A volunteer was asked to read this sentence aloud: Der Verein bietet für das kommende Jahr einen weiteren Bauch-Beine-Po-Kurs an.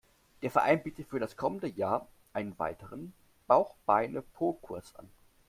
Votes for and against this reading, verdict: 2, 0, accepted